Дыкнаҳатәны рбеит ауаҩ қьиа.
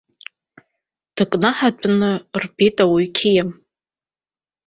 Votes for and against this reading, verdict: 3, 1, accepted